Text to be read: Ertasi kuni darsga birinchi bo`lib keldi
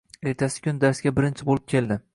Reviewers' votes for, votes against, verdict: 2, 0, accepted